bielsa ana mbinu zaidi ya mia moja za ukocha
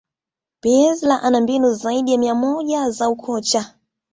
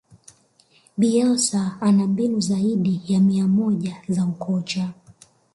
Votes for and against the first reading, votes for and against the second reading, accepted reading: 2, 0, 1, 2, first